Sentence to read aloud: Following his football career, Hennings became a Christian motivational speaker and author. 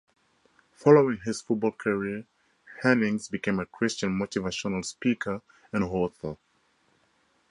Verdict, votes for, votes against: accepted, 4, 0